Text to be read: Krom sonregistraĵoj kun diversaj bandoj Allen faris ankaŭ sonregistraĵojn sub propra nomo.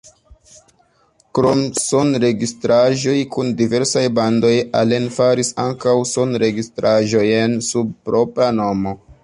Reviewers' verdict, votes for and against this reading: accepted, 2, 1